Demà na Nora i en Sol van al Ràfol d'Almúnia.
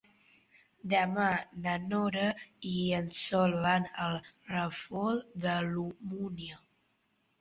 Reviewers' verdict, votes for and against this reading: rejected, 0, 2